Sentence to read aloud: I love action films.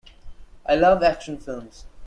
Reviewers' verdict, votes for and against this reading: accepted, 2, 0